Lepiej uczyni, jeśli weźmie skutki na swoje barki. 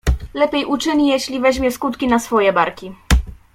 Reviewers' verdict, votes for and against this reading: accepted, 2, 0